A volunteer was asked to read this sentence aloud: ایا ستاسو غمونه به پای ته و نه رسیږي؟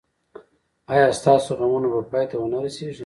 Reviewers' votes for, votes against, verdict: 1, 2, rejected